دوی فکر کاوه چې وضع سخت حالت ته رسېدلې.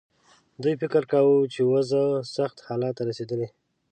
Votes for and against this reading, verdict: 2, 0, accepted